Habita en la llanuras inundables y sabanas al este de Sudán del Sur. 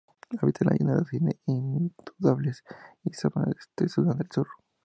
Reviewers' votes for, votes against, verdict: 0, 2, rejected